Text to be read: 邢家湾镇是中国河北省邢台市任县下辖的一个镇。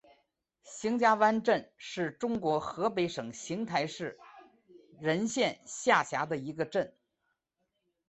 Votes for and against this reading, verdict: 2, 0, accepted